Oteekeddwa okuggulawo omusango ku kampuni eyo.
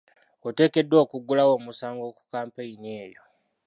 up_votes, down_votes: 1, 2